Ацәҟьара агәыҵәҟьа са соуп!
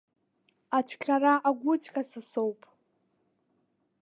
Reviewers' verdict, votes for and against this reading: rejected, 0, 2